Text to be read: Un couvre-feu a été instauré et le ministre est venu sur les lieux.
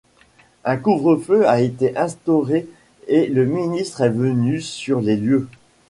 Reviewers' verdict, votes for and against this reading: accepted, 2, 0